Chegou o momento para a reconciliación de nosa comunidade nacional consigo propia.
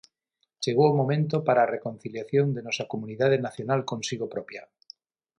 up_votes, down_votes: 3, 3